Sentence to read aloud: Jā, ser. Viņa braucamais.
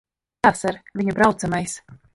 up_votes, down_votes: 0, 2